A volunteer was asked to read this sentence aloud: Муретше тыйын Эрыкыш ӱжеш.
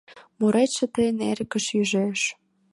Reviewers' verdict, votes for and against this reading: accepted, 2, 0